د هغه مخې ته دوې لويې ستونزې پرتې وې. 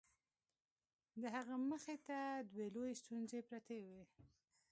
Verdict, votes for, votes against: rejected, 0, 2